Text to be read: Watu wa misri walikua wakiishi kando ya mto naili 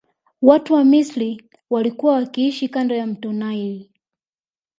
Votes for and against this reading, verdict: 2, 1, accepted